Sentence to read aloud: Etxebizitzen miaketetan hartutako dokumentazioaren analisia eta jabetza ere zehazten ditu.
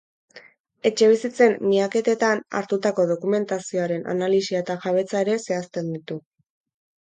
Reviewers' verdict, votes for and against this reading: accepted, 2, 0